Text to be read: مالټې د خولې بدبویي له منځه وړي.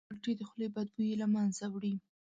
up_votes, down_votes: 1, 2